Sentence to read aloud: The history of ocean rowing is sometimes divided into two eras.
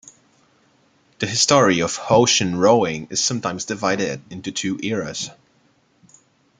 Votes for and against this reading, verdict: 2, 1, accepted